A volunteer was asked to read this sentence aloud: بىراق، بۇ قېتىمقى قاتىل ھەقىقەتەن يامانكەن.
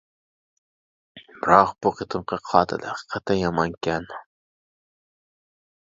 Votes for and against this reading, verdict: 0, 2, rejected